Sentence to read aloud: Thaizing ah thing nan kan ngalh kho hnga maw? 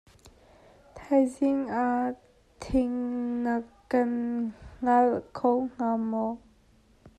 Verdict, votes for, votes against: rejected, 0, 2